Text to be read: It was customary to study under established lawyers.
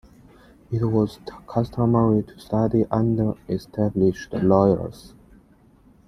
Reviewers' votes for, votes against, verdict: 2, 1, accepted